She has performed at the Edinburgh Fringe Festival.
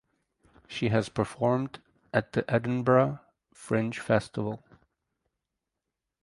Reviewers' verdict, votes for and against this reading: accepted, 4, 0